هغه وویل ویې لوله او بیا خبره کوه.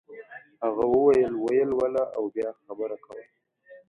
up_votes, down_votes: 0, 2